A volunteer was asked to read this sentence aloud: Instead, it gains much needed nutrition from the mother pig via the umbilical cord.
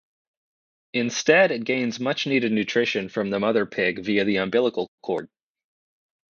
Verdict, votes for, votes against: rejected, 2, 4